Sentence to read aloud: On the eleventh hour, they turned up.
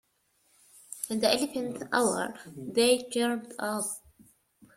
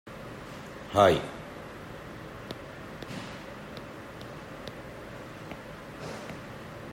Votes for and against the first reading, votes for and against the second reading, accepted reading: 2, 1, 0, 2, first